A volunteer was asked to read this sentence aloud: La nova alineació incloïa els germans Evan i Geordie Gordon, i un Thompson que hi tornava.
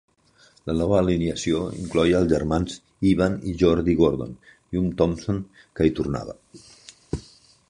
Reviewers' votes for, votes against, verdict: 0, 2, rejected